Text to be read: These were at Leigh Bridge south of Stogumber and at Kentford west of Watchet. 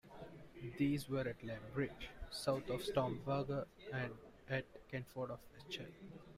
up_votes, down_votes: 0, 2